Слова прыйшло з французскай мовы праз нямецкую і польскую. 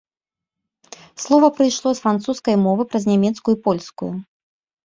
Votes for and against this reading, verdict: 2, 0, accepted